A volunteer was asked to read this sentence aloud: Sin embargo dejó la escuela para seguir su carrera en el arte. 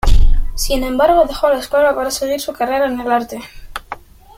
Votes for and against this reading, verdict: 2, 1, accepted